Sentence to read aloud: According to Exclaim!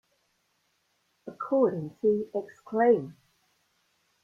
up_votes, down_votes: 2, 0